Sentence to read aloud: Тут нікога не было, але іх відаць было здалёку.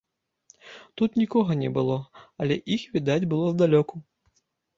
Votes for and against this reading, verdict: 2, 0, accepted